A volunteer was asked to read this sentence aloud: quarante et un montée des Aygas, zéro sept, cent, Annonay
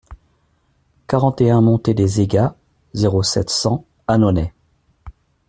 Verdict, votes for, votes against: accepted, 2, 0